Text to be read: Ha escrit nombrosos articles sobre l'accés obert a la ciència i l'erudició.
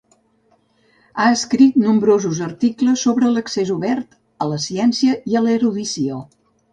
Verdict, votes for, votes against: rejected, 1, 2